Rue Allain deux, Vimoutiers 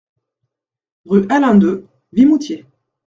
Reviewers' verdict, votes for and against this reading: accepted, 2, 0